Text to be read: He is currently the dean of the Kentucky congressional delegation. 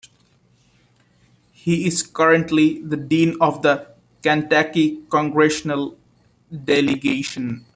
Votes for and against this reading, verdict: 1, 2, rejected